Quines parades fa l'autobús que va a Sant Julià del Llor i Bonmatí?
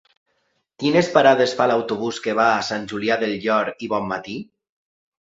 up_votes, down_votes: 2, 0